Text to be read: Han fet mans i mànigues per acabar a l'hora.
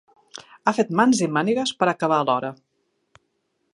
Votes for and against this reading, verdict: 1, 2, rejected